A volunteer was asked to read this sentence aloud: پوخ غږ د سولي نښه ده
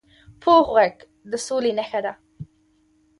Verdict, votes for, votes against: accepted, 2, 1